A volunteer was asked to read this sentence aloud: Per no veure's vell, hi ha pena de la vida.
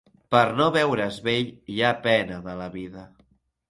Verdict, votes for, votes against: accepted, 3, 0